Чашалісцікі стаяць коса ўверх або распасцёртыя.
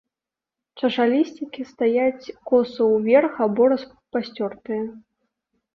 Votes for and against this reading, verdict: 0, 2, rejected